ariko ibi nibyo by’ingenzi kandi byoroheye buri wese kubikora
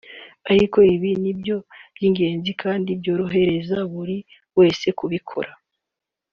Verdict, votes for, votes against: accepted, 2, 1